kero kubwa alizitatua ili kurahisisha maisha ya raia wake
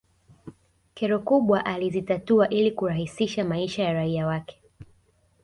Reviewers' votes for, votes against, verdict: 2, 0, accepted